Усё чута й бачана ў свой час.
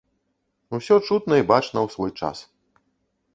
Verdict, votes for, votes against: rejected, 1, 2